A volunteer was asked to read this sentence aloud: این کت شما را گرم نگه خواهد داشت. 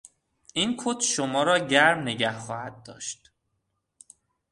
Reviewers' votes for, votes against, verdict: 4, 0, accepted